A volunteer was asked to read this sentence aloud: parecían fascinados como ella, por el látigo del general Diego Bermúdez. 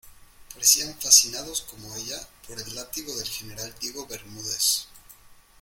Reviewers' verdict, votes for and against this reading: accepted, 2, 1